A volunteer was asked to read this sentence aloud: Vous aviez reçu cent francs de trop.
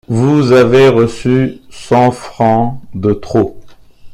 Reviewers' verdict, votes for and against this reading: rejected, 0, 2